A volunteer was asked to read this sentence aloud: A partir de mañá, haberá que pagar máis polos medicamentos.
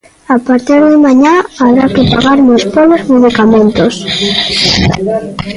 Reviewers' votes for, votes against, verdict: 0, 3, rejected